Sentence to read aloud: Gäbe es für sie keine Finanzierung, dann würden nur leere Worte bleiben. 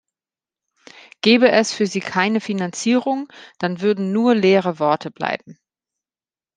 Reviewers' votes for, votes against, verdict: 2, 0, accepted